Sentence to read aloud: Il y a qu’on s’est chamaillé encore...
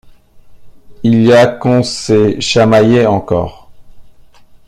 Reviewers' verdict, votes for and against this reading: accepted, 2, 0